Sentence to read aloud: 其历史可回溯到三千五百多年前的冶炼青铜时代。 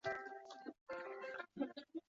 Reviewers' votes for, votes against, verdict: 0, 2, rejected